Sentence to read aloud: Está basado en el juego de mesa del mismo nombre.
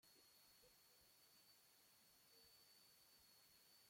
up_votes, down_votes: 0, 2